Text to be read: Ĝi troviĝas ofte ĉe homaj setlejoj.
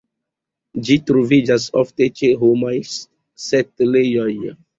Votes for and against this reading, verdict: 2, 1, accepted